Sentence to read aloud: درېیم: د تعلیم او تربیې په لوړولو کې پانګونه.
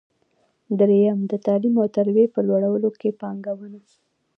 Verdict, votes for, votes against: rejected, 1, 2